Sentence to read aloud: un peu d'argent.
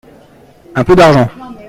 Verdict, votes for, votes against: accepted, 2, 1